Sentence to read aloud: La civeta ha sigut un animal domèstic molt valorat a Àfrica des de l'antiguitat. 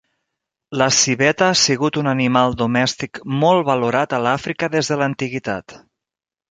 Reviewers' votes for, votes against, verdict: 1, 2, rejected